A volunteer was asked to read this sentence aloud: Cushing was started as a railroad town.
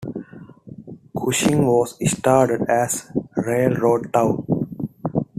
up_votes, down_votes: 2, 0